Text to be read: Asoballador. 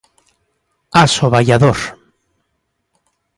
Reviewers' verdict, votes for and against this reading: accepted, 3, 0